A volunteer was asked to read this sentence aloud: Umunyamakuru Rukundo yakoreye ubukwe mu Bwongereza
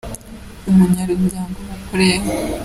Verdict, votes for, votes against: rejected, 0, 2